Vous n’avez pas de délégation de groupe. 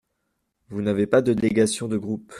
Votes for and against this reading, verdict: 0, 2, rejected